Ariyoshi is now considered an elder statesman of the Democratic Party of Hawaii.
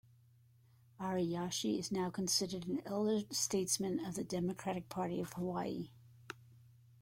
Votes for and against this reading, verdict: 0, 2, rejected